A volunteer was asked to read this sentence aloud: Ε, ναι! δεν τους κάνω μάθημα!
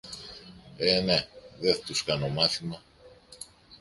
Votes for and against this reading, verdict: 0, 2, rejected